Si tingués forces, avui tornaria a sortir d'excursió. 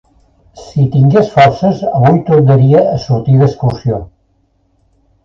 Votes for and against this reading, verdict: 2, 1, accepted